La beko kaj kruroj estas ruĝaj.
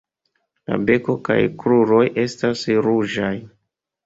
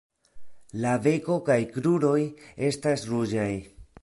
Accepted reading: first